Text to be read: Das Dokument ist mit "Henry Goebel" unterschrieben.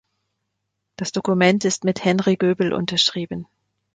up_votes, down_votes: 2, 0